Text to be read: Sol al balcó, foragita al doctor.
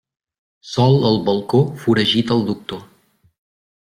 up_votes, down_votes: 2, 0